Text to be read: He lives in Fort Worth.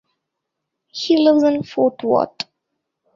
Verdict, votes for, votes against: accepted, 2, 1